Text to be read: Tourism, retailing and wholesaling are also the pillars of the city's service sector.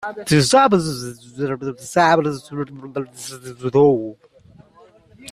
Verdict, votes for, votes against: rejected, 0, 2